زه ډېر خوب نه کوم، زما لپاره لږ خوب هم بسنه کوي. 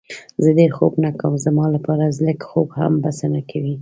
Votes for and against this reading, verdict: 2, 0, accepted